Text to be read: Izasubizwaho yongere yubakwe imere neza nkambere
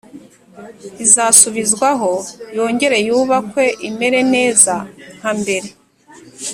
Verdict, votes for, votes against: accepted, 3, 0